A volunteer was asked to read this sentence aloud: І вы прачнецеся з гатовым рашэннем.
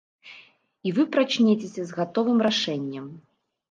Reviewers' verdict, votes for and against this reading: accepted, 2, 0